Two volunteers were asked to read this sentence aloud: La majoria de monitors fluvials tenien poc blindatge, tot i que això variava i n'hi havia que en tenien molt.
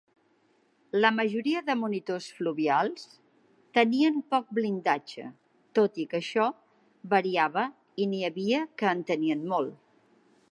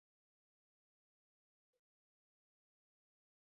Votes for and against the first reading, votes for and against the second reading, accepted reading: 5, 0, 0, 2, first